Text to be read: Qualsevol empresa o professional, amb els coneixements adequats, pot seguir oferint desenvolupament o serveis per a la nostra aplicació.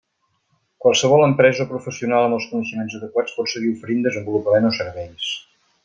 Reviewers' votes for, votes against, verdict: 0, 2, rejected